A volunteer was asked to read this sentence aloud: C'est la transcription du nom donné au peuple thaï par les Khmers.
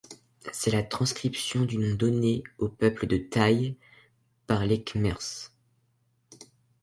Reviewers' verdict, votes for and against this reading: rejected, 0, 2